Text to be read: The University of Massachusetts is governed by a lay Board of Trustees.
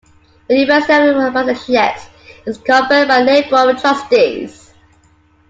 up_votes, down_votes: 0, 2